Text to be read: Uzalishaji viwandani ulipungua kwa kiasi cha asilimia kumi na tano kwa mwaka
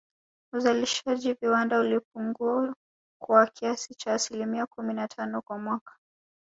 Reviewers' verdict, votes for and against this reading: rejected, 2, 3